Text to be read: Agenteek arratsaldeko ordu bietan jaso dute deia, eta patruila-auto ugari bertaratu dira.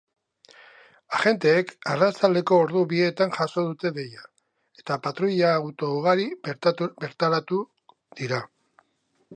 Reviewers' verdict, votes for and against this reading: rejected, 1, 2